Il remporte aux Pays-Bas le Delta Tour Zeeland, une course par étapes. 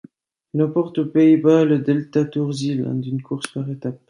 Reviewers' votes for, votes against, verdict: 2, 1, accepted